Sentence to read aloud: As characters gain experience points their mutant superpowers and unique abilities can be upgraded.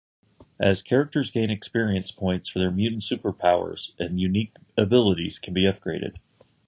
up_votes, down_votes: 3, 0